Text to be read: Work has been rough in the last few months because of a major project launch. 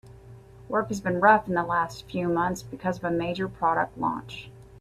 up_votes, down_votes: 0, 3